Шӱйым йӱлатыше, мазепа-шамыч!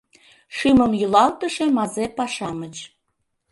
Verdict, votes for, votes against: rejected, 1, 2